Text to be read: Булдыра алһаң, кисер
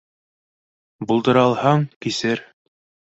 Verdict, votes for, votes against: accepted, 2, 0